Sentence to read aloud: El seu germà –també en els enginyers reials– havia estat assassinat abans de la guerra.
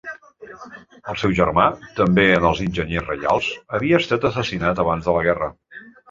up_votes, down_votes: 3, 0